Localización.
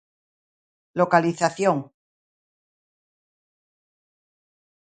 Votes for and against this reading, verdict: 2, 0, accepted